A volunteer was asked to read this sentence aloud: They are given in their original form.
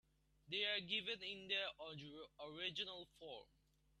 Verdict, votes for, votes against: rejected, 1, 3